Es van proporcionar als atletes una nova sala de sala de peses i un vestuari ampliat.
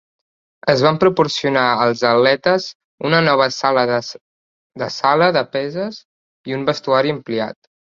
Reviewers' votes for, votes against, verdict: 0, 2, rejected